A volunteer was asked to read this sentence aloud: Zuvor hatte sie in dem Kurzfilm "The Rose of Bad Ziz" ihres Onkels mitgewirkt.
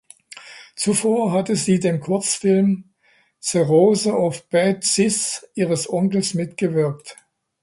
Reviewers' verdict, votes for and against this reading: rejected, 0, 2